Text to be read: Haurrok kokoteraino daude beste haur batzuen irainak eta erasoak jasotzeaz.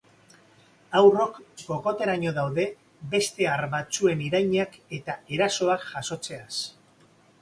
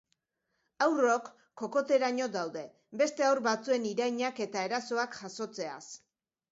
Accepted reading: second